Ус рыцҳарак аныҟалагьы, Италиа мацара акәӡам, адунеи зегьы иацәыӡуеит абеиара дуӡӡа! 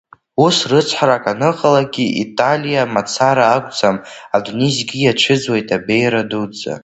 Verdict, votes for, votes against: accepted, 2, 1